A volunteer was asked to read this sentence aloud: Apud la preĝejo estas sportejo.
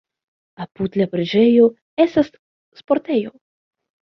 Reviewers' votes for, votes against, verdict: 2, 1, accepted